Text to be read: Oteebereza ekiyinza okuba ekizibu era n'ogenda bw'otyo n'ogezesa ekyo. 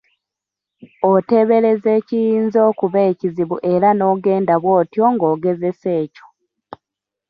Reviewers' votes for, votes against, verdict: 1, 2, rejected